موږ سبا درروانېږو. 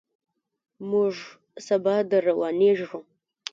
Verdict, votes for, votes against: rejected, 1, 2